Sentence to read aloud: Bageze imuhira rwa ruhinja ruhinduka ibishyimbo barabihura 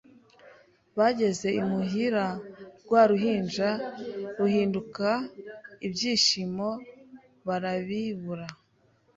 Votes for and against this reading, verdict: 1, 2, rejected